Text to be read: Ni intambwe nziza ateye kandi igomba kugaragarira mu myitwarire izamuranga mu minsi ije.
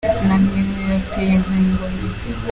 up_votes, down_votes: 0, 2